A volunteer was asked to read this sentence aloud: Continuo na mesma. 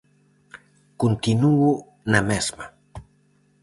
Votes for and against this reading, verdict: 0, 4, rejected